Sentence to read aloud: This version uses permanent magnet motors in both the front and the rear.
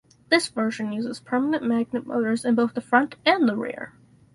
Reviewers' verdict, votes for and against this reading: accepted, 4, 0